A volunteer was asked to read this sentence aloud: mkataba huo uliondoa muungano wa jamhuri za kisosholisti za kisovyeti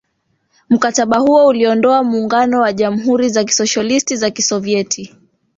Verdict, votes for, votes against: rejected, 0, 2